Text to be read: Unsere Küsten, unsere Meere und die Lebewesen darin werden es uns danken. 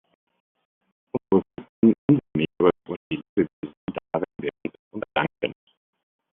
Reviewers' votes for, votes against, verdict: 0, 2, rejected